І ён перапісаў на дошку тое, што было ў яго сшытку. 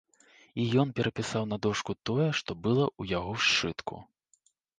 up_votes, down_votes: 1, 2